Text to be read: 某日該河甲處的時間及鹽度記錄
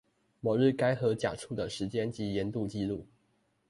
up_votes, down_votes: 2, 0